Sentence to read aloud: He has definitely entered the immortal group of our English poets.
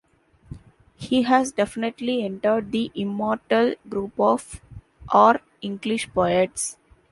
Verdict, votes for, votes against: accepted, 2, 0